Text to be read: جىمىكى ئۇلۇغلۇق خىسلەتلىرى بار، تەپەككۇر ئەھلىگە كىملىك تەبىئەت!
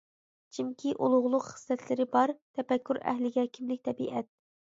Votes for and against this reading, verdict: 0, 2, rejected